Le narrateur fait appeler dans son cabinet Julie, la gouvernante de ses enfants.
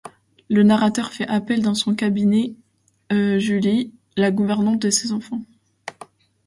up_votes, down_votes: 0, 2